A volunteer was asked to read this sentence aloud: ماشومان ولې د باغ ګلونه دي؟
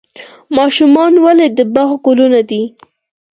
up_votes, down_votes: 4, 0